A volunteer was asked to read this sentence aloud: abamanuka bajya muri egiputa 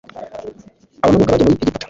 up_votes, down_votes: 1, 2